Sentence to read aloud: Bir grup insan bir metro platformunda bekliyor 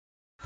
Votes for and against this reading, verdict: 0, 2, rejected